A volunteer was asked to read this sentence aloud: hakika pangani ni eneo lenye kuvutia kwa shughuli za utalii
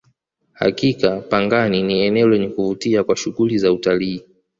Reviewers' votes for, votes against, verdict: 2, 0, accepted